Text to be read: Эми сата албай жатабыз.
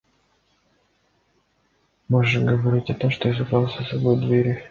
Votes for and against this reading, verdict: 0, 2, rejected